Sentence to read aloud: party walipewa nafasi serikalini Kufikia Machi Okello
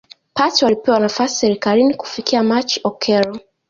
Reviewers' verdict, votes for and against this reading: rejected, 0, 2